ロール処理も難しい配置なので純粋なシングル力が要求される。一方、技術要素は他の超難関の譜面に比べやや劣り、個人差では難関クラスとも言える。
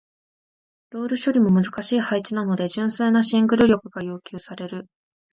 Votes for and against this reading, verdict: 0, 2, rejected